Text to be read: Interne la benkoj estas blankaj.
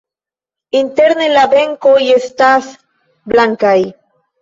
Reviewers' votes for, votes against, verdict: 1, 2, rejected